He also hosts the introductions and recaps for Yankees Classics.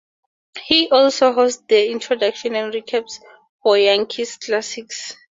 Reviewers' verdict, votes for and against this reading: rejected, 2, 4